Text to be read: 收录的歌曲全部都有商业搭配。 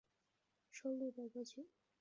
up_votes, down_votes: 3, 5